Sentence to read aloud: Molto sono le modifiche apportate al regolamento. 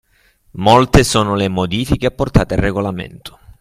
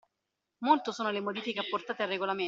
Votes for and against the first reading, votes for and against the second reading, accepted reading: 3, 0, 0, 2, first